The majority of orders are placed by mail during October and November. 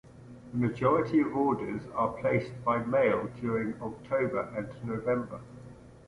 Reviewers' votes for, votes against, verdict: 1, 2, rejected